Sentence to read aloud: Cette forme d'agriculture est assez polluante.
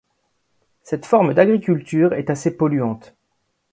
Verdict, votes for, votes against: accepted, 2, 0